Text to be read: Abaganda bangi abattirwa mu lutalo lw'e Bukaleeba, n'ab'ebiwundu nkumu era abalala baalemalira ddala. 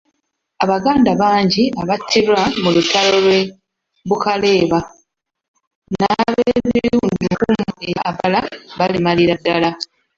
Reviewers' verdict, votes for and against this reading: rejected, 1, 2